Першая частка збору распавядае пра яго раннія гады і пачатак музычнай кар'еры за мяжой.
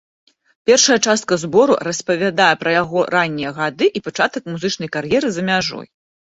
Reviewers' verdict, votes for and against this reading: accepted, 2, 0